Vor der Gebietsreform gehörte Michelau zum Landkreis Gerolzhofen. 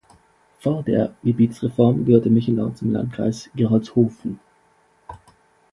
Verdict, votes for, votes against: accepted, 2, 0